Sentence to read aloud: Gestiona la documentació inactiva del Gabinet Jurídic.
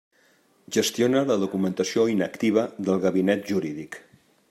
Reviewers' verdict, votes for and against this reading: accepted, 3, 0